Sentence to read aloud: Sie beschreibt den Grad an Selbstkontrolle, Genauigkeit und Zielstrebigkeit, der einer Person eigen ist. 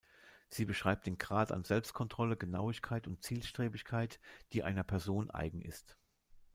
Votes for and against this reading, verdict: 0, 2, rejected